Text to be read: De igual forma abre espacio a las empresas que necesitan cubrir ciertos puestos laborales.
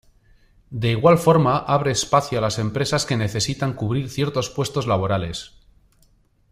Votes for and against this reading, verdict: 2, 0, accepted